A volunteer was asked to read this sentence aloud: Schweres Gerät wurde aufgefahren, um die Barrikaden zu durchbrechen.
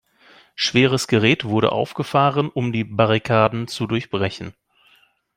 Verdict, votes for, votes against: accepted, 2, 0